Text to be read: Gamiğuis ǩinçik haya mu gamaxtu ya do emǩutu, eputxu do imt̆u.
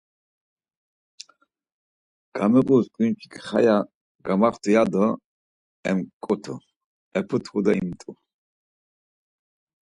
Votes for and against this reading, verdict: 4, 0, accepted